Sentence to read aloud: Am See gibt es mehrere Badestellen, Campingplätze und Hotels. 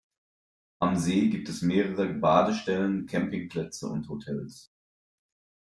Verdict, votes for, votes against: accepted, 2, 0